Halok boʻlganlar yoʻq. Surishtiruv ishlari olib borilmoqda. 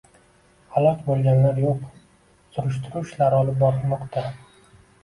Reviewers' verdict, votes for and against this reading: accepted, 2, 1